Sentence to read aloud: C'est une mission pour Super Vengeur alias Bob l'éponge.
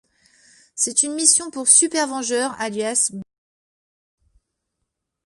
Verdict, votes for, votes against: rejected, 0, 2